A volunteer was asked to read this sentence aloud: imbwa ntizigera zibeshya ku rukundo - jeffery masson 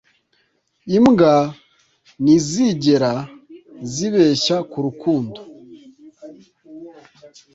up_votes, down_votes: 1, 2